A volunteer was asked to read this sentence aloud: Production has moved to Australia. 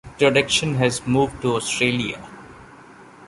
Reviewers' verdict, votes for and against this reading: accepted, 2, 0